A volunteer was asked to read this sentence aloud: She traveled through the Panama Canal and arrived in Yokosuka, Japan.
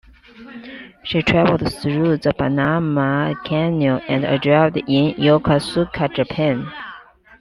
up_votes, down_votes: 0, 2